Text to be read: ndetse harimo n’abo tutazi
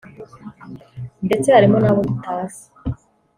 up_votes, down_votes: 2, 1